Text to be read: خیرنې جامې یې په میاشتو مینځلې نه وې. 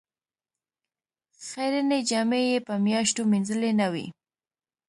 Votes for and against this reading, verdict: 2, 0, accepted